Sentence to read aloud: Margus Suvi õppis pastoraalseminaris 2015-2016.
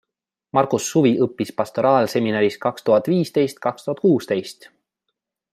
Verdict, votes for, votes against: rejected, 0, 2